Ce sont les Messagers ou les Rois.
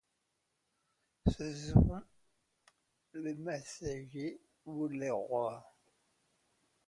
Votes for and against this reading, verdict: 0, 2, rejected